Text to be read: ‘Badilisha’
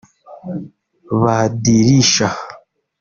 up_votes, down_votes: 0, 2